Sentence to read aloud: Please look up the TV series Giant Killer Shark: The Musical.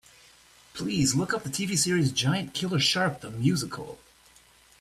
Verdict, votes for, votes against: accepted, 2, 0